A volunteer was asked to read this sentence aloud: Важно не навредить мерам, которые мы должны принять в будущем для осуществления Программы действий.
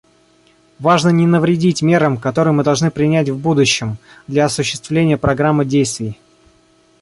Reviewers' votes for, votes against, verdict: 1, 2, rejected